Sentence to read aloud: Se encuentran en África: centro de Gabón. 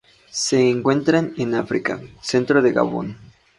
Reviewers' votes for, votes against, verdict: 4, 0, accepted